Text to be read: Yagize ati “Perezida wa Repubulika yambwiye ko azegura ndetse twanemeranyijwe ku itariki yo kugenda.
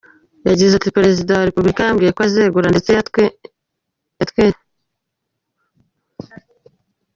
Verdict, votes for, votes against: rejected, 0, 2